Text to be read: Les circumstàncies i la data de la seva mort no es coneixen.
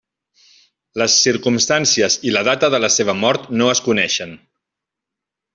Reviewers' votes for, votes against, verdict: 3, 0, accepted